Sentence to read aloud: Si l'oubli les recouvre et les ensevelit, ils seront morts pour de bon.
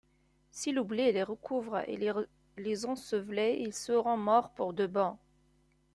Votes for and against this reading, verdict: 0, 2, rejected